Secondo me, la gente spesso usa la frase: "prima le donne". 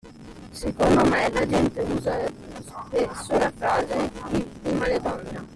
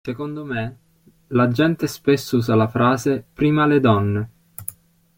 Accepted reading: second